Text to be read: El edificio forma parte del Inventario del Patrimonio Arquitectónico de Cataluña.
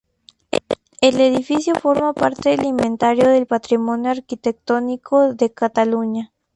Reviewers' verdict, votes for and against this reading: accepted, 2, 0